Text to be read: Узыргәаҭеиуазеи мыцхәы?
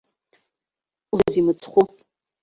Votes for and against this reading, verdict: 0, 2, rejected